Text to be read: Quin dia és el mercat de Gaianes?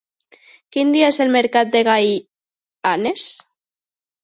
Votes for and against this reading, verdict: 0, 2, rejected